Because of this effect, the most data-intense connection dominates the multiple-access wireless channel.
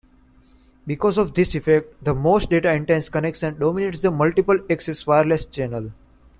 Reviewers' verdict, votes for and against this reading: accepted, 2, 0